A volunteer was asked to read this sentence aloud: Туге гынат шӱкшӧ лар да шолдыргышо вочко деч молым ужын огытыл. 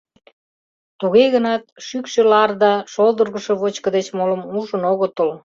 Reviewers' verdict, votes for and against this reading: accepted, 2, 0